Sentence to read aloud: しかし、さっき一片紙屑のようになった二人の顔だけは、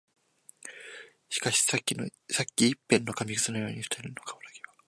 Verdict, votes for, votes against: rejected, 0, 2